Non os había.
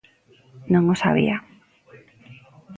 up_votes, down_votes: 2, 1